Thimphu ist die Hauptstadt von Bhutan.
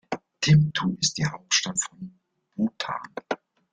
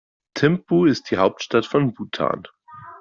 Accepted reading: second